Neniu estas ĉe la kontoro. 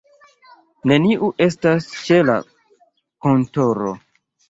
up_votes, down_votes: 2, 0